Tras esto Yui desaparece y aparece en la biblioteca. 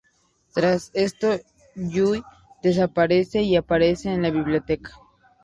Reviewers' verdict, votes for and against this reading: accepted, 2, 0